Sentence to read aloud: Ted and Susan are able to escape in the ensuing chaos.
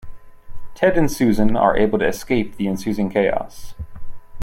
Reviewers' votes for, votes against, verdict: 0, 2, rejected